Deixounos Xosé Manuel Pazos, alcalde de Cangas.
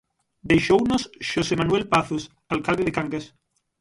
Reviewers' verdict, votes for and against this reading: rejected, 3, 3